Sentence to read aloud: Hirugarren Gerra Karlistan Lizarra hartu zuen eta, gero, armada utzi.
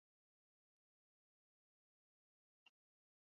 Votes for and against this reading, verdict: 2, 0, accepted